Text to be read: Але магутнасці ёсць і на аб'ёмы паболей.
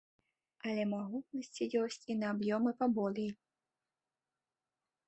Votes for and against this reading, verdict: 2, 0, accepted